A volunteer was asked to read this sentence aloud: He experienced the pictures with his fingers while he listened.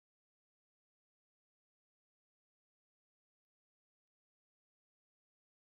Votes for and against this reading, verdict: 0, 2, rejected